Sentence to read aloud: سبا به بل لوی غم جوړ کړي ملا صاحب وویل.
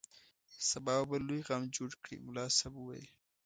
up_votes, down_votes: 2, 0